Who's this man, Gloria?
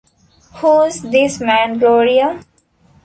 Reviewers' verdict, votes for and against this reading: accepted, 2, 1